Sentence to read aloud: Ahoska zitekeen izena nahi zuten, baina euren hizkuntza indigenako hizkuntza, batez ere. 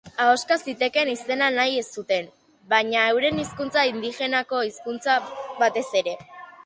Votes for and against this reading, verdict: 2, 2, rejected